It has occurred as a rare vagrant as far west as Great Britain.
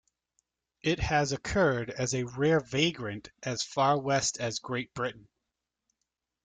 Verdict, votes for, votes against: accepted, 2, 0